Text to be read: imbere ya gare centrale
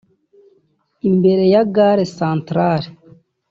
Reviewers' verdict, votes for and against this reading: accepted, 2, 0